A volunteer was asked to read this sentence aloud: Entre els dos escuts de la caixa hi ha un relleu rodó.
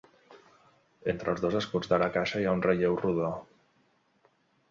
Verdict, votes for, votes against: accepted, 4, 0